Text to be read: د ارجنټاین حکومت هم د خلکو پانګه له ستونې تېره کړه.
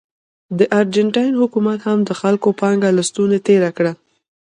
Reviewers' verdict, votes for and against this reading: accepted, 2, 1